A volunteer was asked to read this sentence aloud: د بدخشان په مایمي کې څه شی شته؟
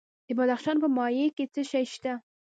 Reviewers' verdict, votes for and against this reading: accepted, 2, 1